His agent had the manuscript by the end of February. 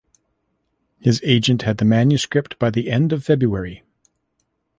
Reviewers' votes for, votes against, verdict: 2, 0, accepted